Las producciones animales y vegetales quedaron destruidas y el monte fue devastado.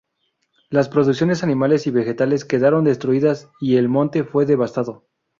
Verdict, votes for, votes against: rejected, 2, 2